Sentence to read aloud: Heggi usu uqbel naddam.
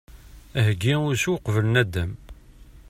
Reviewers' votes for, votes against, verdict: 2, 0, accepted